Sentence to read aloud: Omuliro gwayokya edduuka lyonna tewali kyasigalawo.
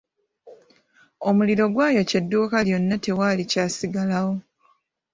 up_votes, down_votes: 2, 0